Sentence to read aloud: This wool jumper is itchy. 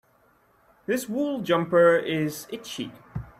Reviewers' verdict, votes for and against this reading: accepted, 2, 0